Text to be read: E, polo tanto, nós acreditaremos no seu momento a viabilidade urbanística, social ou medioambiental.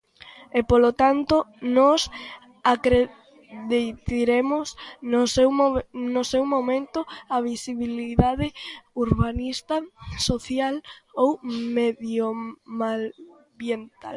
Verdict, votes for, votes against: rejected, 0, 2